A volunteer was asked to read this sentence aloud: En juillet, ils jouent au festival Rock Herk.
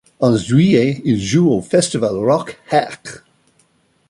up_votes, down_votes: 2, 0